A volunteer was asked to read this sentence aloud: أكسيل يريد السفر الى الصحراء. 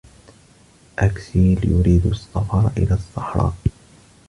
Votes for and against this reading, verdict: 2, 0, accepted